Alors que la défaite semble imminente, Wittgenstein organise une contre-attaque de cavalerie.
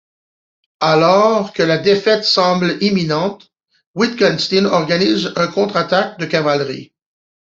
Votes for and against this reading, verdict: 1, 2, rejected